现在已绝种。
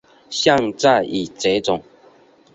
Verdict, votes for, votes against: accepted, 2, 0